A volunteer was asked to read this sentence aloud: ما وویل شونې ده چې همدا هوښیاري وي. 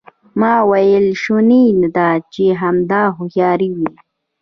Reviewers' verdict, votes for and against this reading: rejected, 1, 2